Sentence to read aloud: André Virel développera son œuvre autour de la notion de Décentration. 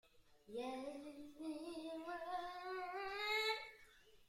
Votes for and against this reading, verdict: 0, 2, rejected